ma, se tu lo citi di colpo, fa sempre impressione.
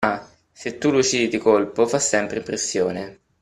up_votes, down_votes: 2, 3